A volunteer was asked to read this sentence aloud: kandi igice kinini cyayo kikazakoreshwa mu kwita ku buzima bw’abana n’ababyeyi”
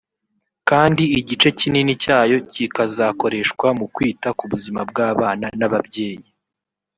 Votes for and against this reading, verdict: 0, 2, rejected